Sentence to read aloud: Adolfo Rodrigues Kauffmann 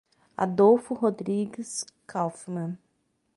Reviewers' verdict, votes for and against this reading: accepted, 6, 0